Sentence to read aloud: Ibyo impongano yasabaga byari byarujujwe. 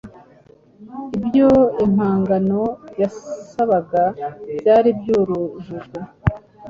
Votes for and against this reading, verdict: 1, 2, rejected